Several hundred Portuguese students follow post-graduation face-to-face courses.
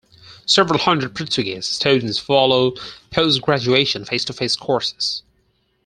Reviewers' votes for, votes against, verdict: 4, 0, accepted